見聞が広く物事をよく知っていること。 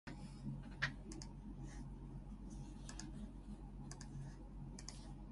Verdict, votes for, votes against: rejected, 1, 2